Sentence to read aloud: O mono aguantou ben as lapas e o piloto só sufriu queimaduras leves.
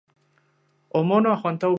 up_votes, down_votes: 0, 2